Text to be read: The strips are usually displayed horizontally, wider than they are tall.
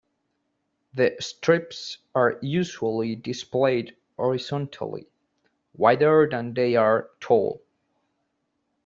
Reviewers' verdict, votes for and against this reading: accepted, 2, 0